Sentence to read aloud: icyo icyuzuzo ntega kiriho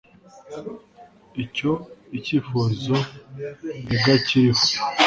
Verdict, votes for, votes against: rejected, 1, 2